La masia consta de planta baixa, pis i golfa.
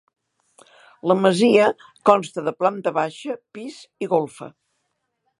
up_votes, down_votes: 3, 0